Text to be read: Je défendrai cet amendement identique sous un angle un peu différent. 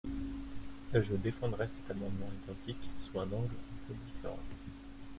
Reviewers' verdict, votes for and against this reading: rejected, 0, 3